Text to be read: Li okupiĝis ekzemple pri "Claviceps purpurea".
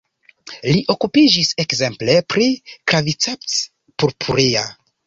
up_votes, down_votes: 2, 1